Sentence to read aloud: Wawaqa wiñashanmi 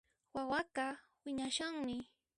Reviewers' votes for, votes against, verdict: 0, 2, rejected